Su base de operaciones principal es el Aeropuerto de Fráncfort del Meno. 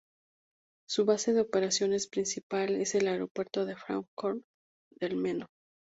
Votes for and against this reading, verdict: 2, 0, accepted